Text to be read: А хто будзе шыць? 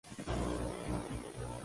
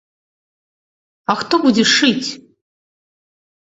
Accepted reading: second